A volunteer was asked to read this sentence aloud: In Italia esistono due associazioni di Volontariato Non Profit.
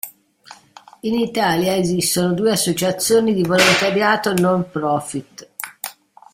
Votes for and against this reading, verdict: 2, 0, accepted